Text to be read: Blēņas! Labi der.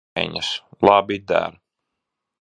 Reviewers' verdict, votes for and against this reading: rejected, 1, 2